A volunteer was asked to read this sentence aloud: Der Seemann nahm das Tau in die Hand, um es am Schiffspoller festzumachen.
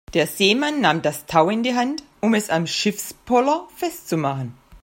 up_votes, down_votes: 2, 0